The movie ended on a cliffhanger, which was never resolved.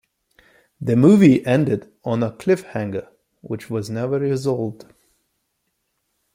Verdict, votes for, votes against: accepted, 2, 0